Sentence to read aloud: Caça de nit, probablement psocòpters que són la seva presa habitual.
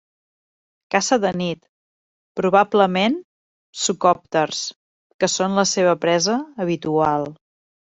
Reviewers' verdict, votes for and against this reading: rejected, 1, 2